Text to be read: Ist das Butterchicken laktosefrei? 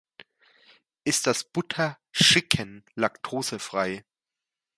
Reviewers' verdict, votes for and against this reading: accepted, 2, 1